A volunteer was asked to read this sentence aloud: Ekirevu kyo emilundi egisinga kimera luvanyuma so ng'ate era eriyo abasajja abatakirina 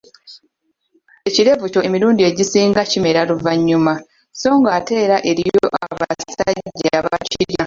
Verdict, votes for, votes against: accepted, 2, 1